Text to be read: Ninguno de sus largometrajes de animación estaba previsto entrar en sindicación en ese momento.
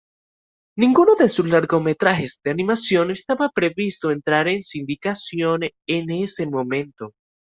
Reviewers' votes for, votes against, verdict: 2, 0, accepted